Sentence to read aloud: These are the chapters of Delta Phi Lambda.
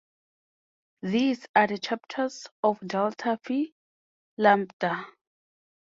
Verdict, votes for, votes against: accepted, 4, 0